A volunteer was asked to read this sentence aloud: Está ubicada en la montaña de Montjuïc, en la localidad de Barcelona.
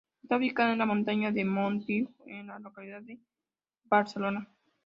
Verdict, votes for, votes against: rejected, 0, 2